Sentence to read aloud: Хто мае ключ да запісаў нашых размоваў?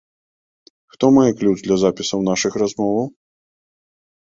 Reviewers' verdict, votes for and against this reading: rejected, 1, 2